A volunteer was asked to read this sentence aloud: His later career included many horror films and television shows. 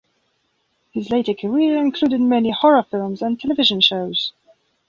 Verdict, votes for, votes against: accepted, 2, 0